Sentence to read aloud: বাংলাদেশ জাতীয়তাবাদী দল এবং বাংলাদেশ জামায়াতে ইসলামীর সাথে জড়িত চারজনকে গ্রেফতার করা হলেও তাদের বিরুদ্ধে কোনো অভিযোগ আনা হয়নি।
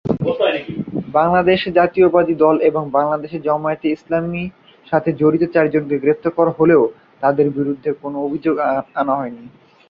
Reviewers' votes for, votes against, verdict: 0, 3, rejected